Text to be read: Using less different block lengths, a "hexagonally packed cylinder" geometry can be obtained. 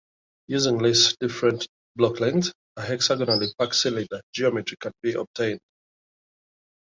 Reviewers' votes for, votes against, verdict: 2, 1, accepted